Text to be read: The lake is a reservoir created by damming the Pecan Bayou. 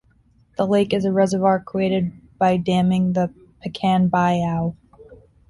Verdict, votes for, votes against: rejected, 2, 3